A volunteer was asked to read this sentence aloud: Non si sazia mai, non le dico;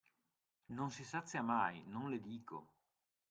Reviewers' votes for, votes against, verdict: 2, 0, accepted